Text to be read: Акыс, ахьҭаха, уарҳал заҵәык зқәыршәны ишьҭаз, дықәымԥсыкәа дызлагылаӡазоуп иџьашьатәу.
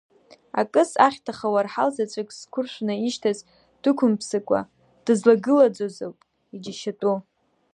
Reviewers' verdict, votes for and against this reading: accepted, 2, 0